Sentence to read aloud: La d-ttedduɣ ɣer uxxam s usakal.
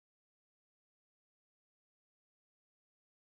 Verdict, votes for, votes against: rejected, 0, 2